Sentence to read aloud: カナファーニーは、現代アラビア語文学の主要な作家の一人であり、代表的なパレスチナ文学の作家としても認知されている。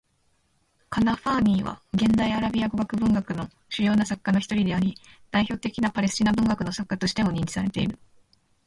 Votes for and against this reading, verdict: 0, 2, rejected